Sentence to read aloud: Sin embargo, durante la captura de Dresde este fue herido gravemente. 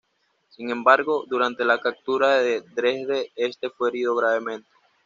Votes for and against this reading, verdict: 2, 1, accepted